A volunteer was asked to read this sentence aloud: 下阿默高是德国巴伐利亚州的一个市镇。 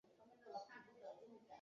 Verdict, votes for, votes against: rejected, 0, 2